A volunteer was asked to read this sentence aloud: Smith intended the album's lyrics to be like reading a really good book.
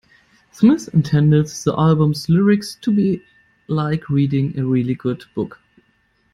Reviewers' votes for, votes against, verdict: 2, 0, accepted